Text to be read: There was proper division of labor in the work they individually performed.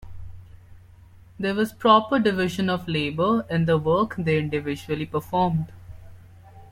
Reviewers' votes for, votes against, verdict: 2, 0, accepted